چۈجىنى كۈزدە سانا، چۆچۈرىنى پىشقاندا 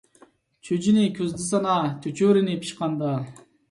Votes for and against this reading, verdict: 2, 0, accepted